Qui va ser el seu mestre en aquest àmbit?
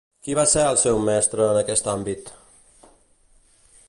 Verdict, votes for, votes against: accepted, 2, 0